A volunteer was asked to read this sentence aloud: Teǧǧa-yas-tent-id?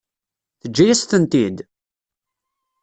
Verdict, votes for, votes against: accepted, 2, 0